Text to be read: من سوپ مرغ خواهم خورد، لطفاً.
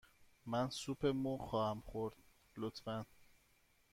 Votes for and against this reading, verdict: 2, 0, accepted